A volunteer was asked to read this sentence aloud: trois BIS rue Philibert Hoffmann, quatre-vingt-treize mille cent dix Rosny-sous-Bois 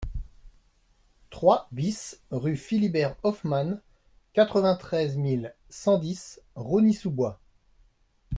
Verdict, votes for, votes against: accepted, 2, 0